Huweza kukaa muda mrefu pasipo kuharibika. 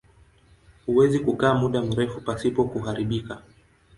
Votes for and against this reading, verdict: 2, 0, accepted